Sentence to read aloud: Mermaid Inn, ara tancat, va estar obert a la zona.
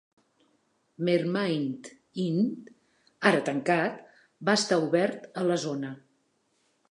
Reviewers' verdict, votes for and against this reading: accepted, 3, 1